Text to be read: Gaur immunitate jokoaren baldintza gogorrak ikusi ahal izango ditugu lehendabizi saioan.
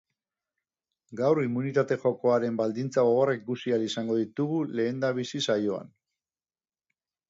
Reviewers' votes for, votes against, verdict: 2, 0, accepted